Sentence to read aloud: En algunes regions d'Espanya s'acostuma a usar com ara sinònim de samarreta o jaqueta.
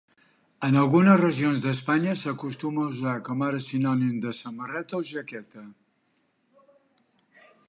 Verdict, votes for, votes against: accepted, 2, 0